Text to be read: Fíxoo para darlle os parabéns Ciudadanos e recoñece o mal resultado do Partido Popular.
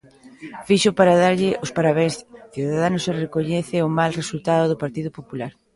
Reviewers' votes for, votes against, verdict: 2, 0, accepted